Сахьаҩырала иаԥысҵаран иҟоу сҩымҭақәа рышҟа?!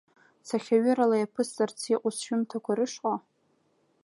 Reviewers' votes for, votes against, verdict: 1, 2, rejected